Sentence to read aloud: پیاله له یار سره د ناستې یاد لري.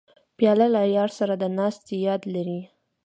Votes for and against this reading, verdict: 2, 0, accepted